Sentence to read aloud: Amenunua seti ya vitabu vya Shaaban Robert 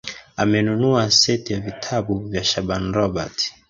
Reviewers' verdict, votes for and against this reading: accepted, 2, 1